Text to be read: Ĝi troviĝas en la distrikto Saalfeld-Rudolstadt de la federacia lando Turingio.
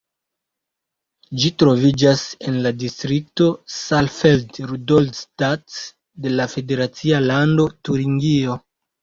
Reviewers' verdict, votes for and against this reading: accepted, 2, 0